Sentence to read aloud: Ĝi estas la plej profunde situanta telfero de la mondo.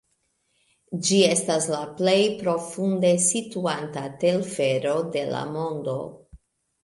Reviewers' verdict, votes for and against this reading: accepted, 2, 1